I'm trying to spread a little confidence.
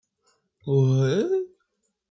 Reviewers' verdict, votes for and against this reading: rejected, 0, 2